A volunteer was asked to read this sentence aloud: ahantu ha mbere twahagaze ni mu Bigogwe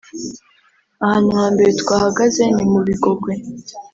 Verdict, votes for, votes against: accepted, 2, 0